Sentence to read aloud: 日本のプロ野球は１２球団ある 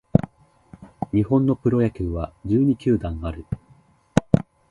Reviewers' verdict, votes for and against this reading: rejected, 0, 2